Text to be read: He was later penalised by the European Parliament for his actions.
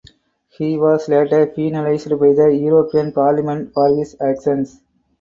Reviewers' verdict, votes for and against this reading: accepted, 4, 2